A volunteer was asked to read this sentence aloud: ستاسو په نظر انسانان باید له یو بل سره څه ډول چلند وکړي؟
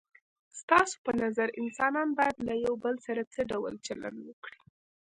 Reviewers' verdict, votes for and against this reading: accepted, 2, 1